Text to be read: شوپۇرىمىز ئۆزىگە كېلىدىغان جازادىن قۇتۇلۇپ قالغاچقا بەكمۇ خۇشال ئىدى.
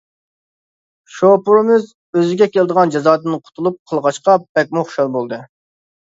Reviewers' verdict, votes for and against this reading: rejected, 0, 2